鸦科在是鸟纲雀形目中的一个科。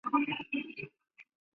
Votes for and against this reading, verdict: 0, 5, rejected